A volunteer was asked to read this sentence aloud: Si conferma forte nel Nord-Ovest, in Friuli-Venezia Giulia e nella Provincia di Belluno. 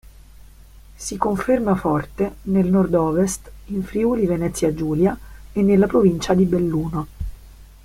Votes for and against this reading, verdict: 2, 0, accepted